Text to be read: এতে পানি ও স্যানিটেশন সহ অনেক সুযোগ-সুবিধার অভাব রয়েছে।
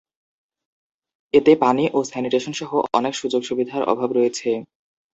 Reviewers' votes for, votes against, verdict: 5, 0, accepted